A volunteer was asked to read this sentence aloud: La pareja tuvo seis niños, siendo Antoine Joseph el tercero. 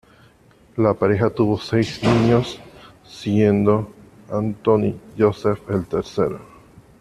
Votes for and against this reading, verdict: 1, 2, rejected